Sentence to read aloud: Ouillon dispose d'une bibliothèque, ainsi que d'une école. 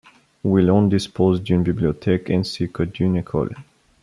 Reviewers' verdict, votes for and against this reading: rejected, 0, 2